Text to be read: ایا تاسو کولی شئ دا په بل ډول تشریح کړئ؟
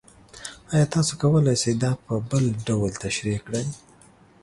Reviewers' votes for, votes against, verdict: 2, 0, accepted